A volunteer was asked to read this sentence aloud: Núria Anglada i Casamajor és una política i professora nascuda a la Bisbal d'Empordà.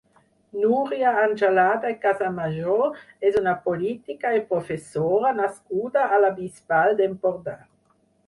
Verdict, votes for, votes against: rejected, 0, 6